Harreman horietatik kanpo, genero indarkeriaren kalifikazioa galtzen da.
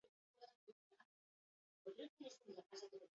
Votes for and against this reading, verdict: 0, 2, rejected